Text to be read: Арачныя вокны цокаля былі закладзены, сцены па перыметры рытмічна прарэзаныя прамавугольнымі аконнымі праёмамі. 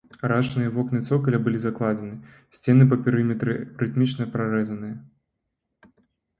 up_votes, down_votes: 0, 2